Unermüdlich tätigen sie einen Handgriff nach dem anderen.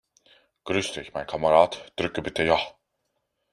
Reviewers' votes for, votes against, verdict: 0, 2, rejected